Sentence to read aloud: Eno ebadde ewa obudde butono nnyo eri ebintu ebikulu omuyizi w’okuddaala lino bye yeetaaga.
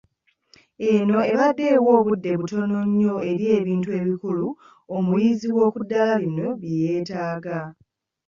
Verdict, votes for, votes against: accepted, 2, 0